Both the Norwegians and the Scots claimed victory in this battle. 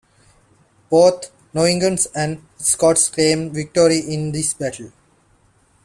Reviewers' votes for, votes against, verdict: 0, 2, rejected